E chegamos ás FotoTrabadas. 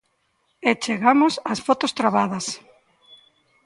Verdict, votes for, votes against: rejected, 1, 2